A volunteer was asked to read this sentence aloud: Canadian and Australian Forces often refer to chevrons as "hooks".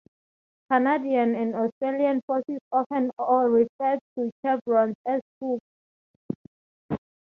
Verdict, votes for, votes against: accepted, 2, 0